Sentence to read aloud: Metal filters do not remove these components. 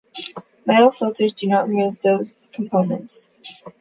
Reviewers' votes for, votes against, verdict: 0, 2, rejected